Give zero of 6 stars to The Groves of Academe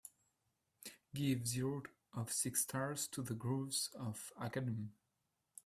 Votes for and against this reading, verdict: 0, 2, rejected